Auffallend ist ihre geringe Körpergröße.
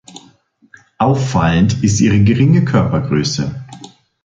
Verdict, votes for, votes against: accepted, 2, 0